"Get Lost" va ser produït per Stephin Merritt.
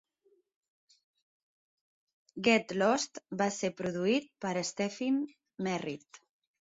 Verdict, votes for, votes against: accepted, 2, 0